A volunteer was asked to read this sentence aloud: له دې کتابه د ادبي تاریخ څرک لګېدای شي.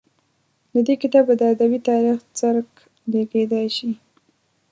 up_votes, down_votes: 1, 2